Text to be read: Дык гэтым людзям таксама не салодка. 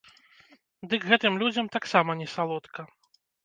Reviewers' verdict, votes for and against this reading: accepted, 2, 0